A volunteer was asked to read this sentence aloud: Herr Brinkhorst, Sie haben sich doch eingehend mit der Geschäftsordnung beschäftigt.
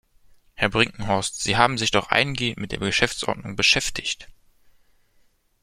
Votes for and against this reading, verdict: 2, 0, accepted